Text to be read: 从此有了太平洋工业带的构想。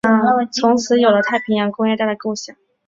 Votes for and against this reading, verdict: 3, 0, accepted